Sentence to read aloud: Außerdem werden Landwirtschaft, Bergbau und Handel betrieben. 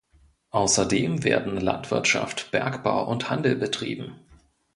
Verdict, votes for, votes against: accepted, 2, 0